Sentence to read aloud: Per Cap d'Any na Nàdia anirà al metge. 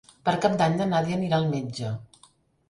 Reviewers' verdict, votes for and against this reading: accepted, 3, 0